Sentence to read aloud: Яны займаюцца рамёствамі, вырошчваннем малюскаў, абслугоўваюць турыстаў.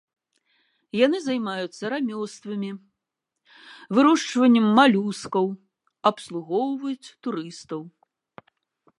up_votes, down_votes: 3, 1